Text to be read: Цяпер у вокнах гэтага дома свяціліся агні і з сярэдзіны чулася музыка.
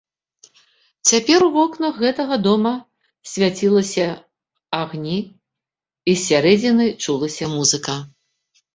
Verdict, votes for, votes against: rejected, 0, 4